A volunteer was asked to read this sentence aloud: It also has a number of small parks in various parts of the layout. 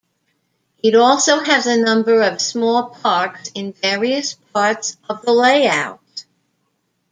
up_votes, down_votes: 2, 0